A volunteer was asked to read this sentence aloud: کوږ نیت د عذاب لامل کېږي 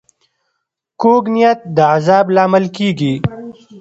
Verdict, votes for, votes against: rejected, 1, 2